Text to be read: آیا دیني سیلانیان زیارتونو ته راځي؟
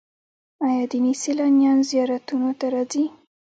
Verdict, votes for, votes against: rejected, 0, 2